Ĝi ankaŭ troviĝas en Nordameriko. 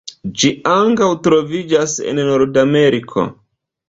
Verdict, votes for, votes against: accepted, 2, 0